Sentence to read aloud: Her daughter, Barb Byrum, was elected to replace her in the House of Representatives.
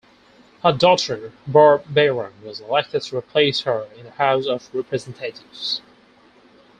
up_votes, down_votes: 2, 4